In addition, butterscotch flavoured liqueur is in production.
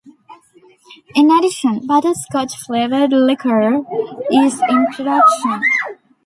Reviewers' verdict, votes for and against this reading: rejected, 1, 2